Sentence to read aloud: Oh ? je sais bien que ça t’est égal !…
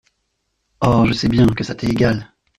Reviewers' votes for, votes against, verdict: 1, 2, rejected